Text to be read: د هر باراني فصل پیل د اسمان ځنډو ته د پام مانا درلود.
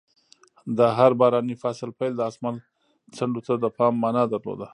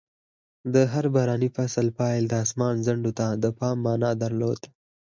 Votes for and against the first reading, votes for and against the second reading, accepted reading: 1, 2, 4, 0, second